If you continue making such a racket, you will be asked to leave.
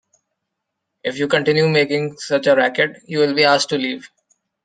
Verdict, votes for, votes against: accepted, 2, 0